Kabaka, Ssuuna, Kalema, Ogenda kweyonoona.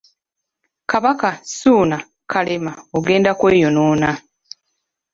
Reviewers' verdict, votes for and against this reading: accepted, 2, 1